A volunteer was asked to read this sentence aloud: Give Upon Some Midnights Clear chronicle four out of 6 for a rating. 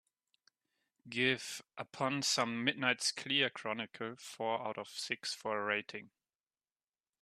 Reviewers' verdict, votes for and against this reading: rejected, 0, 2